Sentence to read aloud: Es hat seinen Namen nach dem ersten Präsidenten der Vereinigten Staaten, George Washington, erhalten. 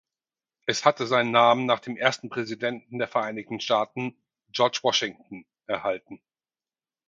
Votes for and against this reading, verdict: 2, 4, rejected